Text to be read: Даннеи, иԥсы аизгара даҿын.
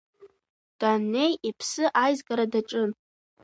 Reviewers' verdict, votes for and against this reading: rejected, 1, 2